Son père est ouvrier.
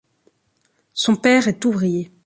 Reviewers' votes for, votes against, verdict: 3, 0, accepted